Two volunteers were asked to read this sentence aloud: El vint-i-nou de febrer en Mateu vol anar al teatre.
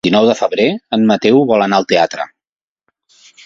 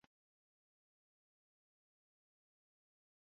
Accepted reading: first